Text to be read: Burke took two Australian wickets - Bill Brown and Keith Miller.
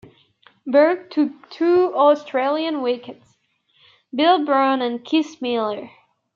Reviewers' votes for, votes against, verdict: 2, 0, accepted